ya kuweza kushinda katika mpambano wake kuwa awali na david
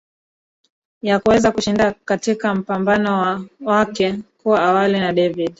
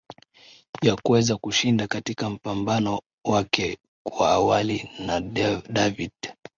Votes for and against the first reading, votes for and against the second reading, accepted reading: 0, 2, 2, 0, second